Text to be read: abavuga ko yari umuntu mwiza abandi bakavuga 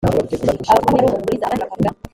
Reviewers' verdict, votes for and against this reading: rejected, 0, 2